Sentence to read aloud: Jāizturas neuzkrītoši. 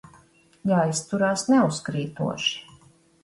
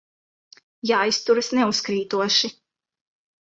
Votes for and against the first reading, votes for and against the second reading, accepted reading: 1, 2, 2, 0, second